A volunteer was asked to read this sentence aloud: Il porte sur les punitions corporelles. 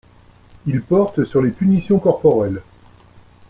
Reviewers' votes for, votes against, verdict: 2, 0, accepted